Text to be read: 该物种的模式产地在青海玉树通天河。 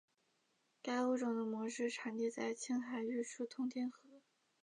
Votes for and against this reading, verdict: 6, 3, accepted